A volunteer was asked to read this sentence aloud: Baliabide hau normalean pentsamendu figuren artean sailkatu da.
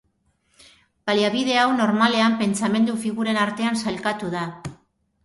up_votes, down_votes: 1, 2